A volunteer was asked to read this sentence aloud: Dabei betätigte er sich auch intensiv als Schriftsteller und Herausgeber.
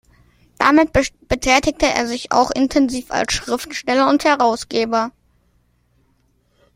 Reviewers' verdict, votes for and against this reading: accepted, 2, 1